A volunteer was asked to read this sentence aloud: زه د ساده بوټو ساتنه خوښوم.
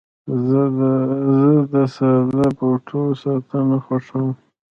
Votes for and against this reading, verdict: 0, 2, rejected